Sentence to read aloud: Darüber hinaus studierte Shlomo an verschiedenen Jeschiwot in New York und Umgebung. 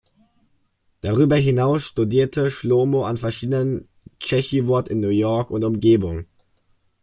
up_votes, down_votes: 0, 2